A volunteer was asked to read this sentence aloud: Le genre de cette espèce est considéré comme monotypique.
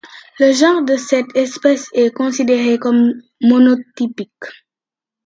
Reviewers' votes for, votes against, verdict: 0, 2, rejected